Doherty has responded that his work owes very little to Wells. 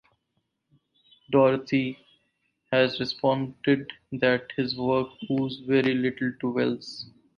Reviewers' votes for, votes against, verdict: 4, 0, accepted